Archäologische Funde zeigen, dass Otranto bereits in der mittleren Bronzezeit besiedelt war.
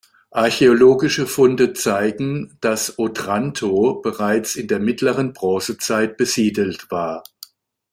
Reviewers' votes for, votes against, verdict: 2, 0, accepted